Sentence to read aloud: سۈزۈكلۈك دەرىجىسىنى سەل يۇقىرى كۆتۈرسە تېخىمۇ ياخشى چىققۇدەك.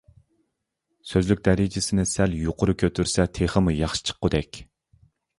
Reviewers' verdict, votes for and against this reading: rejected, 0, 2